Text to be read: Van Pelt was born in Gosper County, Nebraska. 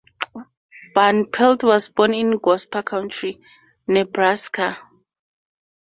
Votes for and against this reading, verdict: 2, 2, rejected